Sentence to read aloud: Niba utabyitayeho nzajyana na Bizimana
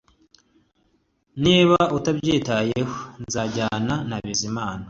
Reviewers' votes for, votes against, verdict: 2, 0, accepted